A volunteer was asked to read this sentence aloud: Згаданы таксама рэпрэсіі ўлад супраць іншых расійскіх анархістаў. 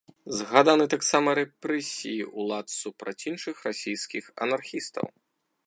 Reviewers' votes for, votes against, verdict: 1, 2, rejected